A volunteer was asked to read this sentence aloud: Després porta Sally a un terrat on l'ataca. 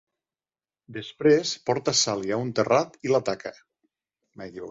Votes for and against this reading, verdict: 0, 2, rejected